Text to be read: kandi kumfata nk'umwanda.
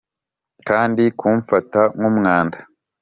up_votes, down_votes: 2, 0